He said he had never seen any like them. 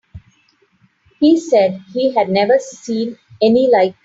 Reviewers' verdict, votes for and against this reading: rejected, 0, 3